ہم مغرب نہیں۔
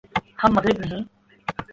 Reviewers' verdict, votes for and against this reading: accepted, 4, 0